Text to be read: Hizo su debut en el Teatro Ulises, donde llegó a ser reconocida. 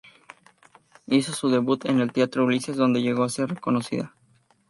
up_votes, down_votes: 0, 2